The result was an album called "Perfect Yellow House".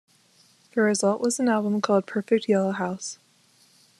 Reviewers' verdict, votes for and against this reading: accepted, 2, 1